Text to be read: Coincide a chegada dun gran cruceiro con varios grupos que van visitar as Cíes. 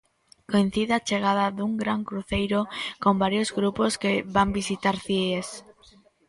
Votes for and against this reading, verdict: 0, 2, rejected